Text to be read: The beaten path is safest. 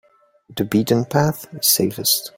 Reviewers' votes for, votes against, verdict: 2, 0, accepted